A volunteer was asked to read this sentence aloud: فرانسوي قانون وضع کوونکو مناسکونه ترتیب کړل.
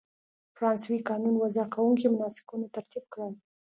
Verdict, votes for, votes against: accepted, 2, 0